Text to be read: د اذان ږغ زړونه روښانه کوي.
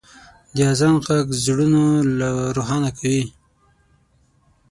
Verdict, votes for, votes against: rejected, 0, 6